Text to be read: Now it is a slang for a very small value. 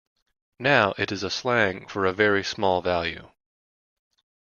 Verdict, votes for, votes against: rejected, 1, 2